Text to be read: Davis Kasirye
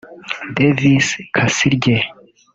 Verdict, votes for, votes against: rejected, 1, 2